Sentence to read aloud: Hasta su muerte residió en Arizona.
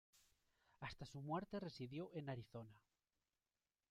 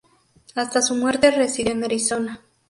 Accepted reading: second